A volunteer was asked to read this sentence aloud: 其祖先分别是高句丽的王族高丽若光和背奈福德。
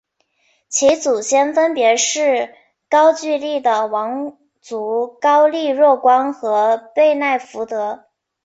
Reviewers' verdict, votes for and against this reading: accepted, 6, 1